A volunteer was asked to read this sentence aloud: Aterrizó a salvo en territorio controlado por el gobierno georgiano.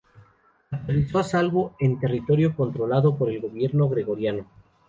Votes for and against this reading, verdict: 0, 2, rejected